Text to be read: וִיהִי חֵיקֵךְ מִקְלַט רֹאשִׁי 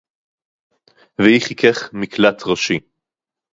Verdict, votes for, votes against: accepted, 2, 0